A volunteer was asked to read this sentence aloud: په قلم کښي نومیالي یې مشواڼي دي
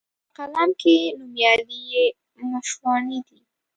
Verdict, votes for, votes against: rejected, 0, 2